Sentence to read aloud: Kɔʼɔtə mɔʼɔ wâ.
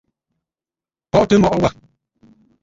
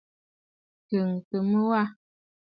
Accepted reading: first